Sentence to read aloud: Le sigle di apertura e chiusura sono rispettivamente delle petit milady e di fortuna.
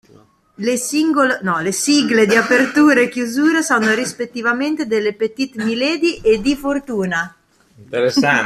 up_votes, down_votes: 0, 2